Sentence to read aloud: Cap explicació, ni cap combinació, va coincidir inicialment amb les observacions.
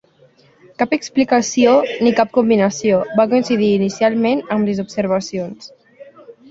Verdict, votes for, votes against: rejected, 1, 2